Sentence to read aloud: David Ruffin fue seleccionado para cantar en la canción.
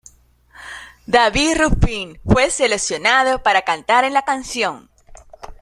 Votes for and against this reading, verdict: 2, 0, accepted